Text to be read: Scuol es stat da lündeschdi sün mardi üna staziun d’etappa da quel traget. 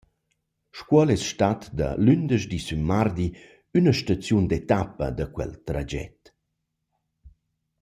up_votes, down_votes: 2, 0